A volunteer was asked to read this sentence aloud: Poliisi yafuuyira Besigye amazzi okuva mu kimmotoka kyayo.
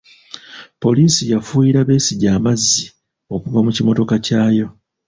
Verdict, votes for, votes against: rejected, 1, 2